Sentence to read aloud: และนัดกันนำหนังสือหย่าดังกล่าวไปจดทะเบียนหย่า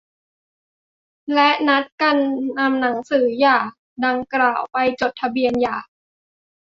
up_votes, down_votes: 2, 0